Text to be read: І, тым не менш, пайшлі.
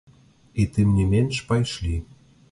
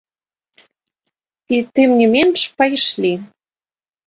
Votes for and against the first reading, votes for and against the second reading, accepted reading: 2, 1, 1, 2, first